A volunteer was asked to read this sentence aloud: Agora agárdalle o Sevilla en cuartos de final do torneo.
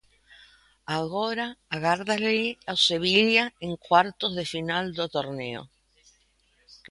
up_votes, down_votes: 2, 3